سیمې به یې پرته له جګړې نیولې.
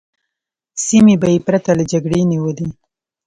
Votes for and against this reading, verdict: 2, 0, accepted